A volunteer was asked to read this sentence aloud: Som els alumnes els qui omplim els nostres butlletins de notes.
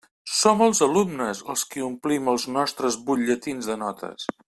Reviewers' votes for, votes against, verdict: 2, 0, accepted